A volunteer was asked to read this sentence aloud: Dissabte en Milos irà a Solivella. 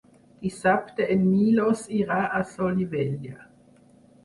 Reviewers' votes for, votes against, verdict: 2, 4, rejected